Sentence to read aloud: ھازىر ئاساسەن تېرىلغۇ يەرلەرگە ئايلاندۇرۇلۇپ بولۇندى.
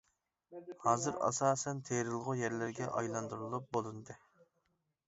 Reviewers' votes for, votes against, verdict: 2, 0, accepted